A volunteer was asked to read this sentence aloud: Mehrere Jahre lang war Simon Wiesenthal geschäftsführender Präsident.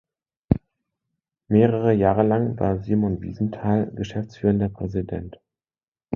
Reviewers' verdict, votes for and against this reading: accepted, 2, 0